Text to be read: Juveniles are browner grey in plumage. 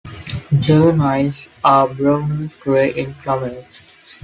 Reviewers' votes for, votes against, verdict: 3, 2, accepted